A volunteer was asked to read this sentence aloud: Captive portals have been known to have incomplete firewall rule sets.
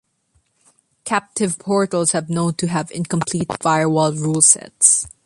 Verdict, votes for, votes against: rejected, 1, 2